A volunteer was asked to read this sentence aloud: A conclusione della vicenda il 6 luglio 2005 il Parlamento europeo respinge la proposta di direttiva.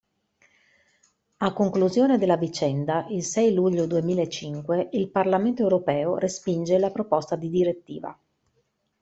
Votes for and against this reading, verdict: 0, 2, rejected